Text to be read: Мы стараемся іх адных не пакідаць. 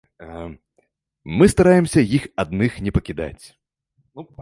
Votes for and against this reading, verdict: 0, 2, rejected